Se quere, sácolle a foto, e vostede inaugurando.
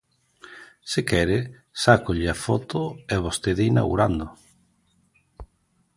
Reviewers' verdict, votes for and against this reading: accepted, 2, 0